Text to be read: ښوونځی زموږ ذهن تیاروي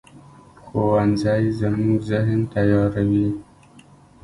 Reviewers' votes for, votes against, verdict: 1, 2, rejected